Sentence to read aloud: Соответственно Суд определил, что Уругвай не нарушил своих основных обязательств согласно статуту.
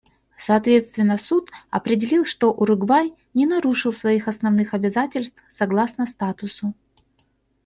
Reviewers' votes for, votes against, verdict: 2, 1, accepted